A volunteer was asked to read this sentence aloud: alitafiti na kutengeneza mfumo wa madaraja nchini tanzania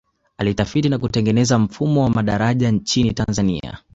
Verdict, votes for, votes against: rejected, 0, 2